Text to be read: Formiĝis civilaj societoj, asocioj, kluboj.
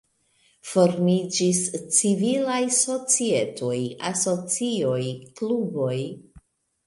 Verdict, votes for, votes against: rejected, 0, 2